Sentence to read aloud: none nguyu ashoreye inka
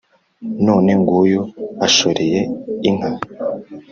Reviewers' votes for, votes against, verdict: 3, 0, accepted